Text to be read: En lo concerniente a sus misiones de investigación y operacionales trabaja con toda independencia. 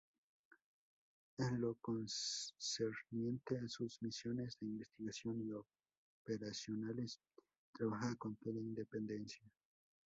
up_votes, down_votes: 0, 2